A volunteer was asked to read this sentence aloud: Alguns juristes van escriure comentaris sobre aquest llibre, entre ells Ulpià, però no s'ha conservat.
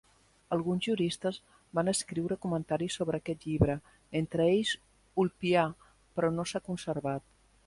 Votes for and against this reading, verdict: 2, 0, accepted